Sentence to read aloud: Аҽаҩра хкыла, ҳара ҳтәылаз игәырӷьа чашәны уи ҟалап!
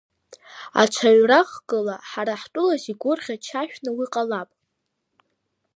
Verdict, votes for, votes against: accepted, 2, 0